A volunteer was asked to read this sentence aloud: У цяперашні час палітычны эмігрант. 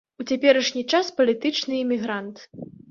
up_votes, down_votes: 2, 0